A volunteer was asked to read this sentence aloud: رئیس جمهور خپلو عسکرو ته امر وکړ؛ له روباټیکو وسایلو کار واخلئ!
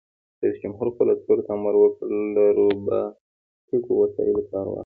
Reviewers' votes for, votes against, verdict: 2, 0, accepted